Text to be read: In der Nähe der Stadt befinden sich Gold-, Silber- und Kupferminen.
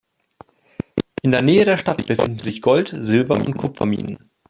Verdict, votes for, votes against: rejected, 0, 2